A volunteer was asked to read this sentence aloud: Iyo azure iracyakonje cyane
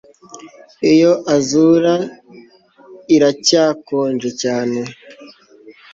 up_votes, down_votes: 1, 2